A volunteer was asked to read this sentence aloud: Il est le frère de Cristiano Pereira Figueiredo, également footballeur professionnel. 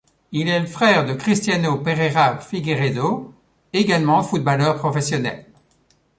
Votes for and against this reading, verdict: 2, 0, accepted